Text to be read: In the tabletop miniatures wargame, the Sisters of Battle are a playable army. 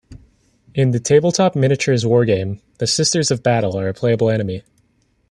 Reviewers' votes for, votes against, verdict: 1, 2, rejected